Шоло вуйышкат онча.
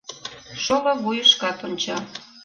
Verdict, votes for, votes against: rejected, 1, 3